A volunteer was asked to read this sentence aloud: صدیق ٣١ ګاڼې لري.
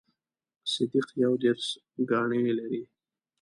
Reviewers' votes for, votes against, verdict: 0, 2, rejected